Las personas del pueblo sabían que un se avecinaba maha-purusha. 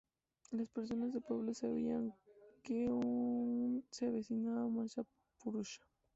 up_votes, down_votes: 0, 2